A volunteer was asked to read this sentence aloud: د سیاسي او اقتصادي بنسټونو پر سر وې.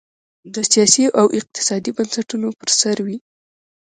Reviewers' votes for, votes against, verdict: 0, 2, rejected